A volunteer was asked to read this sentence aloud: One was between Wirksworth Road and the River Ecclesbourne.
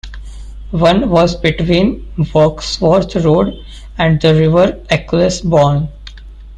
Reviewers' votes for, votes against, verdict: 1, 3, rejected